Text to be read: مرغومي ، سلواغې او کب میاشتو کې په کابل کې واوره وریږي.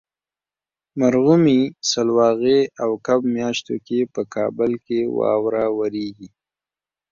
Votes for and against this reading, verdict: 3, 0, accepted